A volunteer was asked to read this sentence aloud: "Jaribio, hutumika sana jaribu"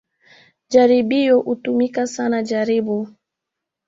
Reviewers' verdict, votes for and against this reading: accepted, 2, 0